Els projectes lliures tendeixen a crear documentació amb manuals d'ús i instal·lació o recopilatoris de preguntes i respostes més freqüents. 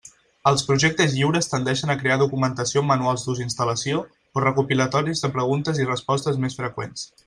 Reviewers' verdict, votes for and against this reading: accepted, 2, 0